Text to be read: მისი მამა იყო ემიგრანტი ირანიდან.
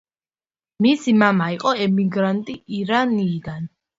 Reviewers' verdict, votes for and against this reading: rejected, 1, 2